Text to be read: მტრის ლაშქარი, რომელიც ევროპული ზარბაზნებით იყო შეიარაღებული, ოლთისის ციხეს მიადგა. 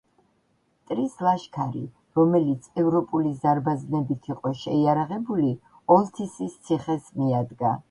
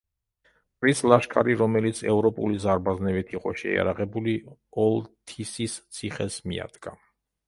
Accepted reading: first